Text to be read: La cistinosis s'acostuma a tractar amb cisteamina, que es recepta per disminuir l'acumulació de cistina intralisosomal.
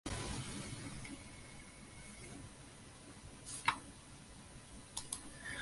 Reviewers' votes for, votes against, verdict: 0, 2, rejected